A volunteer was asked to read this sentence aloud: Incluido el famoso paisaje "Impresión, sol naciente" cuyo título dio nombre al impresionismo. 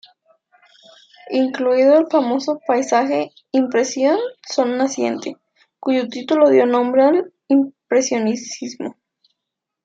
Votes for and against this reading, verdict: 0, 2, rejected